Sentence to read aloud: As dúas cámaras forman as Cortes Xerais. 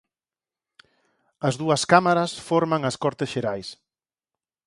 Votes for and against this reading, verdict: 4, 0, accepted